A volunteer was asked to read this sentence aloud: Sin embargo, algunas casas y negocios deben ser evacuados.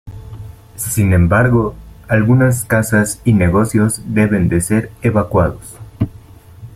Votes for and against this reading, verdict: 1, 2, rejected